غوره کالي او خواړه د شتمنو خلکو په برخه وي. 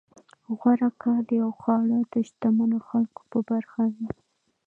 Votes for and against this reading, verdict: 0, 2, rejected